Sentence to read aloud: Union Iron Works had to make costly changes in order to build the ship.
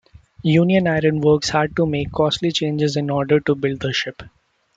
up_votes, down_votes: 2, 0